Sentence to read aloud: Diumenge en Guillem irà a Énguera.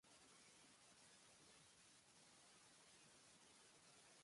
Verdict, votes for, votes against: rejected, 0, 2